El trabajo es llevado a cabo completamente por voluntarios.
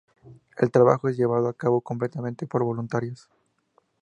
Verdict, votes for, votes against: accepted, 2, 0